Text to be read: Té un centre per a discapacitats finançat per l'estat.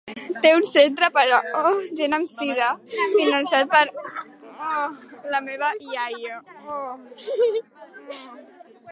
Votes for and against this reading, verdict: 0, 2, rejected